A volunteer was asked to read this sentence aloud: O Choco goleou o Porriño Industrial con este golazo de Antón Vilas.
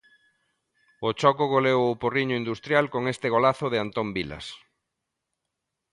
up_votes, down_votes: 2, 0